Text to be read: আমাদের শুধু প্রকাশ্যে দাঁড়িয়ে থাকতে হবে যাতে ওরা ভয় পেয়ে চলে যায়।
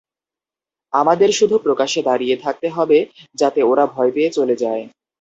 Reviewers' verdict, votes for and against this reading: accepted, 2, 0